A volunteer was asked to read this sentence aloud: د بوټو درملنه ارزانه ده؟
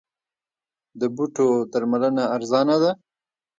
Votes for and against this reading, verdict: 2, 1, accepted